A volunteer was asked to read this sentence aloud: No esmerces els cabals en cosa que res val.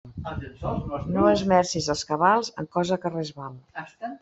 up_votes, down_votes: 0, 2